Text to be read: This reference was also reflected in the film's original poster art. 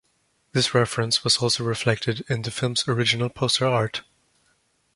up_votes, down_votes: 2, 0